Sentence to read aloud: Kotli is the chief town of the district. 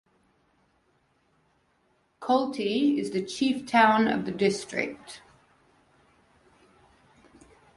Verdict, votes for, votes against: rejected, 1, 2